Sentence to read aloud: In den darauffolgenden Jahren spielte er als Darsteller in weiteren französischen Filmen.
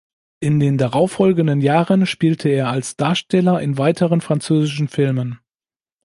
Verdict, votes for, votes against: accepted, 2, 0